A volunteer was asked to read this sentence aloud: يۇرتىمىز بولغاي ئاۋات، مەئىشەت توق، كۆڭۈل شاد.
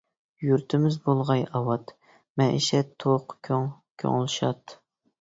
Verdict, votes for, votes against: rejected, 0, 2